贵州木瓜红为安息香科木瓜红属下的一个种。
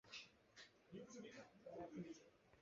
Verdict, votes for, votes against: rejected, 0, 2